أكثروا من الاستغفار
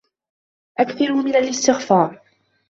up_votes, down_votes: 2, 0